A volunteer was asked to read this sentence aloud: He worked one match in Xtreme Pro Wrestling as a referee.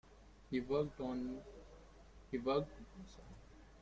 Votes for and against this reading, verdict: 0, 2, rejected